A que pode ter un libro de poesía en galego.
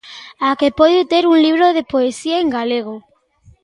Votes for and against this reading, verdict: 2, 1, accepted